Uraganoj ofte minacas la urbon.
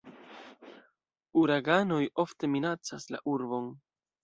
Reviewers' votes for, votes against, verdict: 2, 0, accepted